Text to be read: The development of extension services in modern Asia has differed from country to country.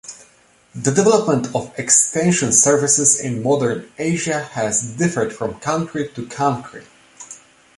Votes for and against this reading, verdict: 2, 0, accepted